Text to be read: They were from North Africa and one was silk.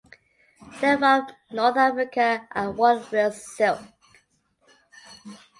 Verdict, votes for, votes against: accepted, 2, 1